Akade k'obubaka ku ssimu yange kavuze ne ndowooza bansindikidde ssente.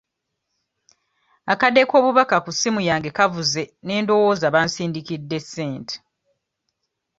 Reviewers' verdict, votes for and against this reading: accepted, 2, 0